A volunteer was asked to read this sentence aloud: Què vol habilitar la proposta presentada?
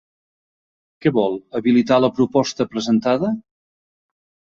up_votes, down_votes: 5, 1